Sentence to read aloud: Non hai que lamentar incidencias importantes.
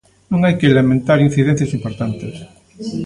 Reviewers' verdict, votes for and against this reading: rejected, 1, 2